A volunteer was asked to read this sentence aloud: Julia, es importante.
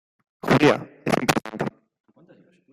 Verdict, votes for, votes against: rejected, 2, 3